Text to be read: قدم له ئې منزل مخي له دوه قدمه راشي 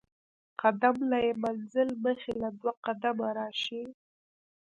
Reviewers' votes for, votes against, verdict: 0, 2, rejected